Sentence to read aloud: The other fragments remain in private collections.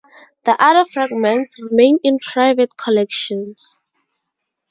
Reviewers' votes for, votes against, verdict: 2, 0, accepted